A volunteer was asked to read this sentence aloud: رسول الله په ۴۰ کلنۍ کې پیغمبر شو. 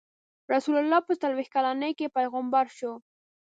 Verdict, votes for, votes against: rejected, 0, 2